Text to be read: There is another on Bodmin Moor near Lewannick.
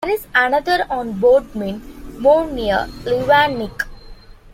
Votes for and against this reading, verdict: 0, 2, rejected